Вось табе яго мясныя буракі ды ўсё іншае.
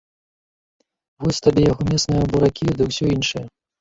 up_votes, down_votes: 0, 2